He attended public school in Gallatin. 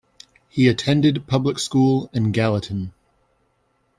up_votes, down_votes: 2, 0